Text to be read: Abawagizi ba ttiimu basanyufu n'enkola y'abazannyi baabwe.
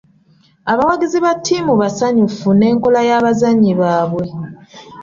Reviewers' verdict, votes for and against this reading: accepted, 2, 0